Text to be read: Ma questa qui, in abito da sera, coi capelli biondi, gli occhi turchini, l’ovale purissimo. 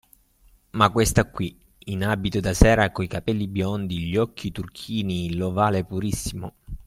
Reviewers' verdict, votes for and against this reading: accepted, 2, 0